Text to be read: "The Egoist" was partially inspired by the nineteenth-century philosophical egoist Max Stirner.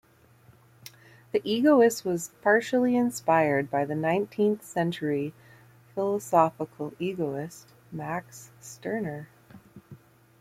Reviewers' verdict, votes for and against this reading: accepted, 2, 0